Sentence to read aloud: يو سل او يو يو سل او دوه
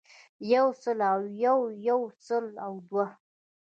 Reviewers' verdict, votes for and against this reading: accepted, 2, 0